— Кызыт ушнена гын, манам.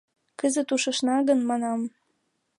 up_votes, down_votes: 1, 2